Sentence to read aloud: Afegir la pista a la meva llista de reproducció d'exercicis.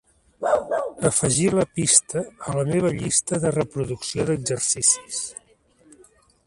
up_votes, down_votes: 0, 2